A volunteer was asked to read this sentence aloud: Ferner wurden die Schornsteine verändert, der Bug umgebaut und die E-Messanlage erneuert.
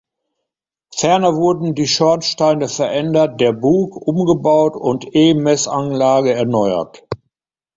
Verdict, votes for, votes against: rejected, 0, 2